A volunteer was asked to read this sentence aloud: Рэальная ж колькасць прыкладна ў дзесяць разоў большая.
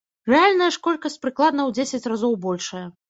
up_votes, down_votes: 1, 2